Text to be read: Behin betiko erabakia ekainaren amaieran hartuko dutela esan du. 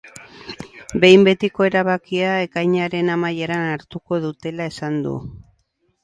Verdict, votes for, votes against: accepted, 10, 0